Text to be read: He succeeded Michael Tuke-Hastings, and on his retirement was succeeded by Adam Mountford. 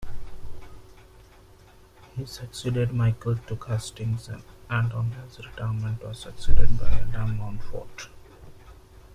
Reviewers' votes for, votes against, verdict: 0, 2, rejected